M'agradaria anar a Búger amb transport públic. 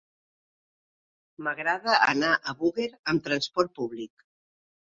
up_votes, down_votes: 0, 3